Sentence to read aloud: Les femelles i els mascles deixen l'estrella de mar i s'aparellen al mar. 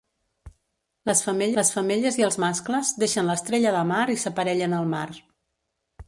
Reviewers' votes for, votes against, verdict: 0, 2, rejected